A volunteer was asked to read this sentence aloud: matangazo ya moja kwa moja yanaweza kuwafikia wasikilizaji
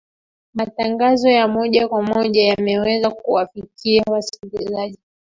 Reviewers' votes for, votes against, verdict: 2, 3, rejected